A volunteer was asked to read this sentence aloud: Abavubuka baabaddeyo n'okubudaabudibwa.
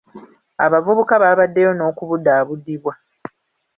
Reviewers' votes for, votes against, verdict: 2, 0, accepted